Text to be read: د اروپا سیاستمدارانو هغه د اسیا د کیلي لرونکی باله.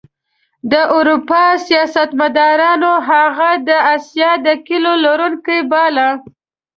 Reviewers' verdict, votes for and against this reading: rejected, 1, 2